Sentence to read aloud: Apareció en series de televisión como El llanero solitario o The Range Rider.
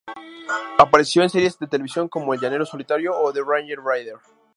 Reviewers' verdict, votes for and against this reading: rejected, 0, 2